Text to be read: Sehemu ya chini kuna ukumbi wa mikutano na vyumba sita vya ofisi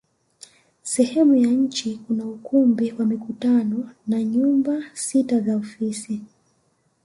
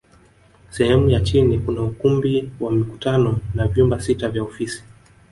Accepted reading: first